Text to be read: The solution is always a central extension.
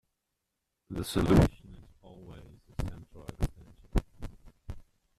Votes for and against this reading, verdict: 0, 2, rejected